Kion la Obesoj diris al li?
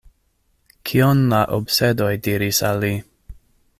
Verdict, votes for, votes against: rejected, 1, 2